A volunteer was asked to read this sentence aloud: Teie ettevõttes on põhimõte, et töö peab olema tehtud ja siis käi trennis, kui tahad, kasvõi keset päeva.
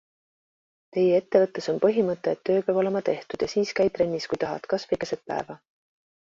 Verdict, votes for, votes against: accepted, 2, 1